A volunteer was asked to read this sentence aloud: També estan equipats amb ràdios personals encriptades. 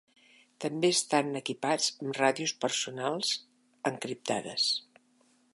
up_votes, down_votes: 3, 1